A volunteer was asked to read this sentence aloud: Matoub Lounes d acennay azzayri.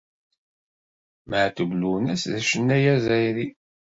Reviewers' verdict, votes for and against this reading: accepted, 2, 0